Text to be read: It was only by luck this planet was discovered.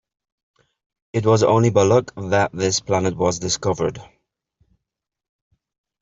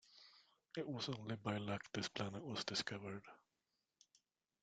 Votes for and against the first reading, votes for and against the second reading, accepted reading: 0, 2, 2, 0, second